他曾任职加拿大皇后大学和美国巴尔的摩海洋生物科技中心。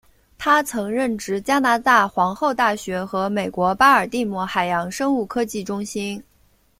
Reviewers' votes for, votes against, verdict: 2, 0, accepted